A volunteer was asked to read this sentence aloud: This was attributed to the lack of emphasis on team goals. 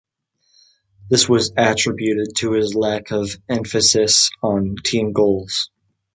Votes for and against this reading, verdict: 1, 2, rejected